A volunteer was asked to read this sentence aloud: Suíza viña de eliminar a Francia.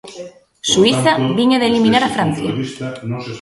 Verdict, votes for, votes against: rejected, 0, 2